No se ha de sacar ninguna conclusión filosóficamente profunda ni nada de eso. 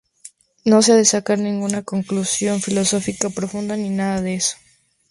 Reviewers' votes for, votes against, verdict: 0, 2, rejected